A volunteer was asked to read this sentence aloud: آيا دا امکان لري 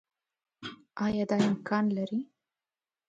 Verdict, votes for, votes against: rejected, 0, 2